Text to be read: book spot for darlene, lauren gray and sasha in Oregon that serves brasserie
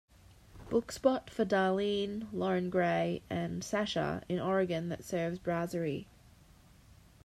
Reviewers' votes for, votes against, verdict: 2, 0, accepted